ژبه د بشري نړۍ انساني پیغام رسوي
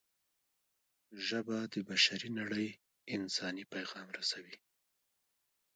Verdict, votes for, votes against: rejected, 0, 2